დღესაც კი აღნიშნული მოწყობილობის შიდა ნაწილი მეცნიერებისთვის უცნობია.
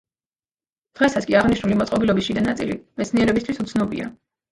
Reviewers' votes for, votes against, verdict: 1, 2, rejected